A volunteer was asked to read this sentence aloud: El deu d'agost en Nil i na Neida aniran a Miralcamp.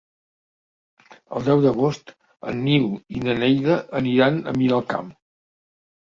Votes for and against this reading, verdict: 2, 1, accepted